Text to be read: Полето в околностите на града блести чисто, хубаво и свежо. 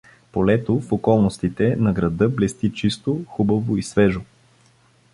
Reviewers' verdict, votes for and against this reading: accepted, 2, 0